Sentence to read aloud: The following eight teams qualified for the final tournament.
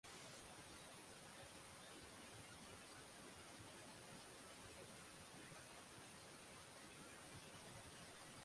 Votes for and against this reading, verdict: 0, 6, rejected